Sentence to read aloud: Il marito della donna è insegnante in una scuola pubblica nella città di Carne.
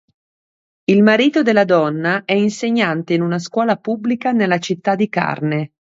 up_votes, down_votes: 2, 0